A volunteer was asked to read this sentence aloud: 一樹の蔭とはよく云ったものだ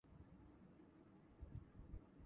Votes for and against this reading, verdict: 0, 2, rejected